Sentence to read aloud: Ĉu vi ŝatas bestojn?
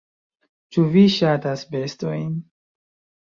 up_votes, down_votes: 1, 2